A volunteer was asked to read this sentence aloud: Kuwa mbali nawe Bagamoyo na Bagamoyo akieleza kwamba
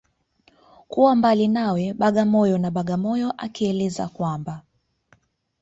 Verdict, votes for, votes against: accepted, 2, 0